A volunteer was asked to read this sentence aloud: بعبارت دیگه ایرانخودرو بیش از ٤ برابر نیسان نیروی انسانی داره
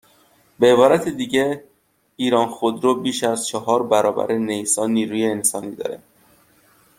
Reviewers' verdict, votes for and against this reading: rejected, 0, 2